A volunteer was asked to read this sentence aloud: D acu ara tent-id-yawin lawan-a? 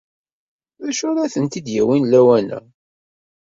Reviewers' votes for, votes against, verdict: 2, 0, accepted